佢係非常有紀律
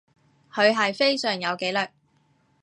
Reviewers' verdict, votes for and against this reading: accepted, 2, 0